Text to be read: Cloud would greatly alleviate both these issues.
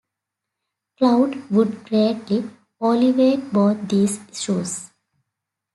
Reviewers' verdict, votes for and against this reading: rejected, 1, 2